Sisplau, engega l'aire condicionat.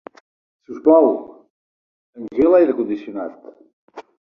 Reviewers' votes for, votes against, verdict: 0, 2, rejected